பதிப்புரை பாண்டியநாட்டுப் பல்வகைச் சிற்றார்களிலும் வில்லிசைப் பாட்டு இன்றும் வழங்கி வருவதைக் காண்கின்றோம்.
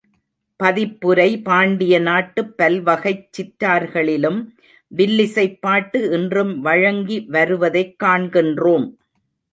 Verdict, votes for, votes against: accepted, 2, 1